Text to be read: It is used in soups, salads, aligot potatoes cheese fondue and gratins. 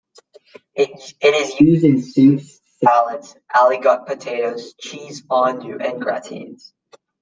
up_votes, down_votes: 2, 1